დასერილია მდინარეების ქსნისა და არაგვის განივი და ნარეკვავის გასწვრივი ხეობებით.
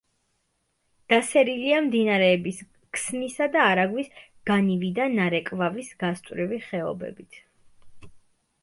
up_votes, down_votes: 2, 0